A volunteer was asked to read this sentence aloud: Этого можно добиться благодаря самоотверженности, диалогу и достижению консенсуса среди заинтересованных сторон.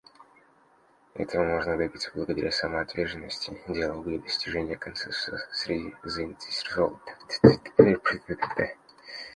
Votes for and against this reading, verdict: 0, 2, rejected